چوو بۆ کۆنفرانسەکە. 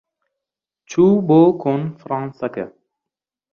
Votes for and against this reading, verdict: 1, 2, rejected